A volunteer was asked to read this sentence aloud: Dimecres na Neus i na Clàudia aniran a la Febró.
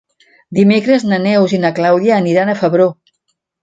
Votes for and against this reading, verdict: 0, 2, rejected